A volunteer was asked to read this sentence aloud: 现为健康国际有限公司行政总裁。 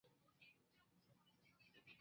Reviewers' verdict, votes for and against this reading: rejected, 0, 3